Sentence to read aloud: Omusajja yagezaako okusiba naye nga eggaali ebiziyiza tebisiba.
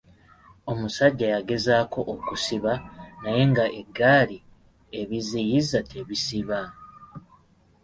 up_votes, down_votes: 2, 0